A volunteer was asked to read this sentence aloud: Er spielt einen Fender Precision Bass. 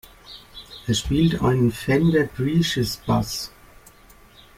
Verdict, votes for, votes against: rejected, 0, 2